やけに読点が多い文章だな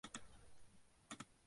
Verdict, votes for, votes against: rejected, 1, 2